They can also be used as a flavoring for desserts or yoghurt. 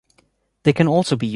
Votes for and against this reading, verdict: 0, 3, rejected